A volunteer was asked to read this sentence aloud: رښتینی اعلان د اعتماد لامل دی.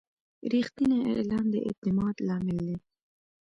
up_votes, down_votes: 2, 0